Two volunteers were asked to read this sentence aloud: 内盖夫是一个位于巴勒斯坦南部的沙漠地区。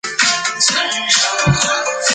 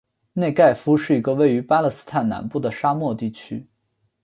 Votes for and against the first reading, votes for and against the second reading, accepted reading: 0, 3, 5, 1, second